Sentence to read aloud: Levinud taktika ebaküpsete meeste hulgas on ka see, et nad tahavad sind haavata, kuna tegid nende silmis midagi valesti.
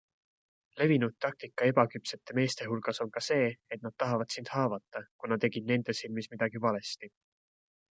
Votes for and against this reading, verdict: 2, 0, accepted